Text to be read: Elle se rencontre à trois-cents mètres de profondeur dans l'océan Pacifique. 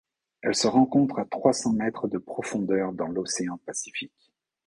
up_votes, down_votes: 2, 0